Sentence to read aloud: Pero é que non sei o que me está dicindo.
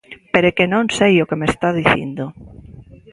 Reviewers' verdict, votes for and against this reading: accepted, 2, 0